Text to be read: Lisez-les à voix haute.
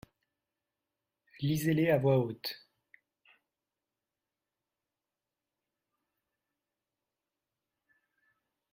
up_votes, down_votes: 2, 1